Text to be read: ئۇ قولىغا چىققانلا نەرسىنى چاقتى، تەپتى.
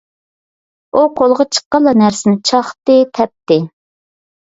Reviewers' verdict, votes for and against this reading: accepted, 2, 0